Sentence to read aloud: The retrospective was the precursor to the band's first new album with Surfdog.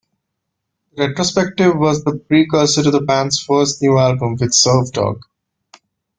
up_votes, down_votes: 2, 1